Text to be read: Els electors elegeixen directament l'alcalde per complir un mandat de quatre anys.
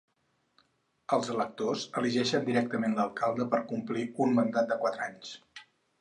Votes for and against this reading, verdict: 2, 2, rejected